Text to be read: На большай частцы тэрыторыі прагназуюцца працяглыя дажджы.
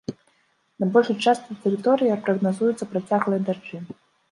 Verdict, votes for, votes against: rejected, 0, 2